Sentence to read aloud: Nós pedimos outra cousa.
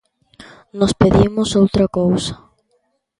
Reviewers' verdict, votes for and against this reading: accepted, 2, 0